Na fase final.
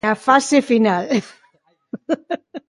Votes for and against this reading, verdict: 0, 2, rejected